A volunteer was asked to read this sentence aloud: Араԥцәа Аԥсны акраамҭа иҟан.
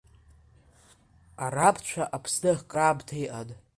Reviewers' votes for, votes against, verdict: 2, 1, accepted